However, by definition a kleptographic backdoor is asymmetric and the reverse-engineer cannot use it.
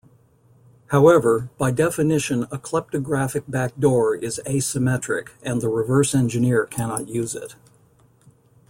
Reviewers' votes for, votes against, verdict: 2, 0, accepted